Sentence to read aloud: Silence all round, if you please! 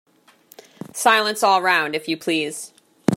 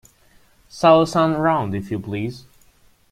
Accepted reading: first